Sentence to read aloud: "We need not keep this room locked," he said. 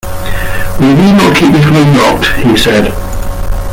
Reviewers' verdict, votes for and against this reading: rejected, 0, 2